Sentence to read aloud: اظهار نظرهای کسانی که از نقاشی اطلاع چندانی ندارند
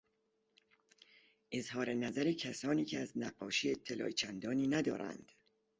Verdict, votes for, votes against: rejected, 1, 2